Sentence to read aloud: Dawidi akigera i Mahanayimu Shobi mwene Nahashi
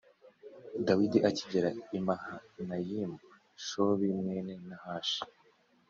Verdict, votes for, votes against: accepted, 3, 1